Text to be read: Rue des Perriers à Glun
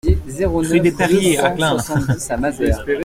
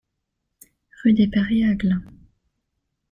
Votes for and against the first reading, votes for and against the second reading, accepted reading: 0, 2, 2, 0, second